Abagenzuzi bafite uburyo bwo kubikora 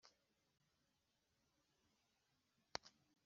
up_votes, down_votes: 0, 2